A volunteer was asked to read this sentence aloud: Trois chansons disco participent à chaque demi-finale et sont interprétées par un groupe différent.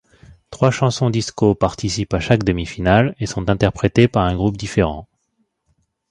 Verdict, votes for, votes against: accepted, 2, 0